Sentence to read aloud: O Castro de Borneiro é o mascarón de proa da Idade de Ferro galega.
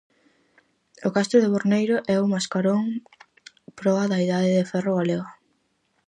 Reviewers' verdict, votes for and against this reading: rejected, 2, 2